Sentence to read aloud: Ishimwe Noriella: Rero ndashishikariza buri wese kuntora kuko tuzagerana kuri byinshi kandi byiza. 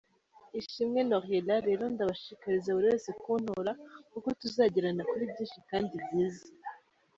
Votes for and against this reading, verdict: 0, 2, rejected